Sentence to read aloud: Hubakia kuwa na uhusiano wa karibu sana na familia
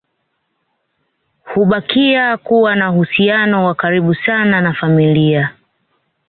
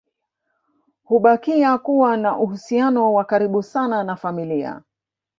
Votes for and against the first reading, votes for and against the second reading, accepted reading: 2, 1, 1, 2, first